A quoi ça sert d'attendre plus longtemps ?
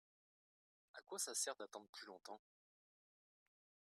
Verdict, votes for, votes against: accepted, 2, 0